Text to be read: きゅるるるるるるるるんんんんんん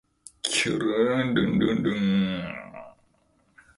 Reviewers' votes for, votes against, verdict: 19, 6, accepted